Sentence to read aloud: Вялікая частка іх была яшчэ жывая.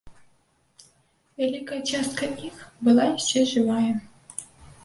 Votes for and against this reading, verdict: 1, 2, rejected